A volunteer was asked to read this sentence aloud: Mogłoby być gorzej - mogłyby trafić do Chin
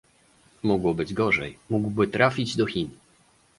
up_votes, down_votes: 1, 2